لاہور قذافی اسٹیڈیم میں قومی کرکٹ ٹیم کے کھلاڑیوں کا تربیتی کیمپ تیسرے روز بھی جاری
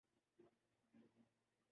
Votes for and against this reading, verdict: 0, 2, rejected